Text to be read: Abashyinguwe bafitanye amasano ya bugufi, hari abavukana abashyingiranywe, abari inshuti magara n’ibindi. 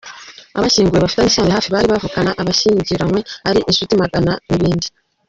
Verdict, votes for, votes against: rejected, 0, 2